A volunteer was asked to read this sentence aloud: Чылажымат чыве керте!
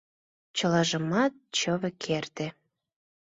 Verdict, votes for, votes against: accepted, 2, 0